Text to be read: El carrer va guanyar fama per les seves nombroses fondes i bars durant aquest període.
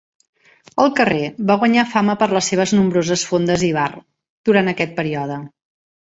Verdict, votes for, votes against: accepted, 2, 0